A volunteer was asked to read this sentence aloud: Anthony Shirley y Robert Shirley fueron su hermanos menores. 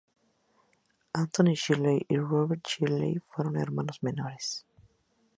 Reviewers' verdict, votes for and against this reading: rejected, 2, 2